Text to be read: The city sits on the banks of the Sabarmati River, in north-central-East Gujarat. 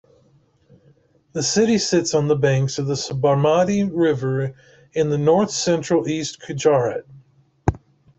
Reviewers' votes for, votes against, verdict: 0, 2, rejected